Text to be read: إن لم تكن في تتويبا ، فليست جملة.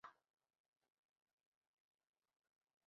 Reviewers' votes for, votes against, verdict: 0, 3, rejected